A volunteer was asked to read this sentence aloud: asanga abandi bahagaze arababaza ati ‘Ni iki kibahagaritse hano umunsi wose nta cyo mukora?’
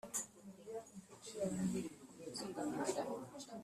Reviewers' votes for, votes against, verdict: 0, 2, rejected